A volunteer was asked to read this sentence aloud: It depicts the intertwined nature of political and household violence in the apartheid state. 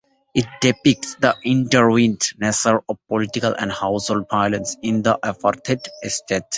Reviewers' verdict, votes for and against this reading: rejected, 0, 2